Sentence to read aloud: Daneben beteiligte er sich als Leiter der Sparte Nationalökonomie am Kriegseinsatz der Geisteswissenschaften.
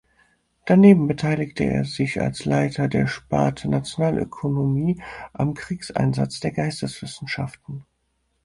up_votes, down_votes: 4, 0